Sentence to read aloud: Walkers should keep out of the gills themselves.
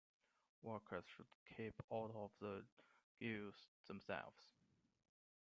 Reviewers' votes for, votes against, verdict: 1, 2, rejected